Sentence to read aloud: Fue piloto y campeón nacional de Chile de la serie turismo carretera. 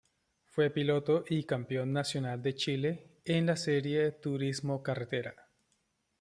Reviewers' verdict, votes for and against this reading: rejected, 0, 2